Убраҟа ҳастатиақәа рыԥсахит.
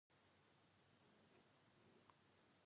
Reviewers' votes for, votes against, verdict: 0, 2, rejected